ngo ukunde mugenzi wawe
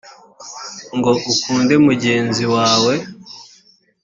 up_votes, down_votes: 3, 0